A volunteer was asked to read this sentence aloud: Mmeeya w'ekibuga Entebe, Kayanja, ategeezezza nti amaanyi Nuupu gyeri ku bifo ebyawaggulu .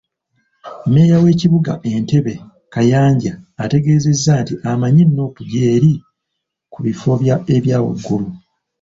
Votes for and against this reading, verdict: 1, 2, rejected